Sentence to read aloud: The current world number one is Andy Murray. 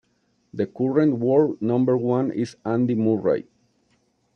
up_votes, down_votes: 1, 2